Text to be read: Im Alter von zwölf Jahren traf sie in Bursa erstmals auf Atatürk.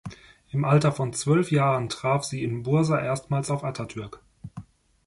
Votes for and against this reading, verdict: 2, 0, accepted